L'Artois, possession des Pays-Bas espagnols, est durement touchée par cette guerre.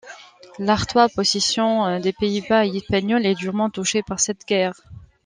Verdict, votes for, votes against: rejected, 1, 2